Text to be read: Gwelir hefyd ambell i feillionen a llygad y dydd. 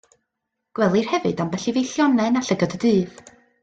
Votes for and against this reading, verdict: 2, 0, accepted